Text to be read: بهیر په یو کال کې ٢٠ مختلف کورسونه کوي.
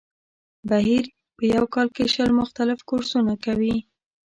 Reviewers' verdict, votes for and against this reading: rejected, 0, 2